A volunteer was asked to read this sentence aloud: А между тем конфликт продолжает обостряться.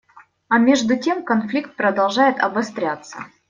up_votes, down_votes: 2, 0